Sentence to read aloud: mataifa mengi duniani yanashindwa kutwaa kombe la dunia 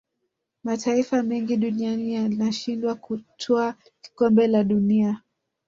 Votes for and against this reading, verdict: 2, 1, accepted